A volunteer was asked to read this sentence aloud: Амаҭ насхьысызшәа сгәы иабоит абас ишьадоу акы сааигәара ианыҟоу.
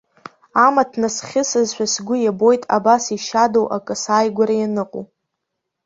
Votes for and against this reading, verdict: 2, 0, accepted